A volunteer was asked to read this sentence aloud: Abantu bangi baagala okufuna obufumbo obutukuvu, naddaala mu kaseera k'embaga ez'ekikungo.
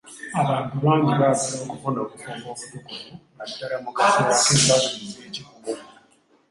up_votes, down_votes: 0, 2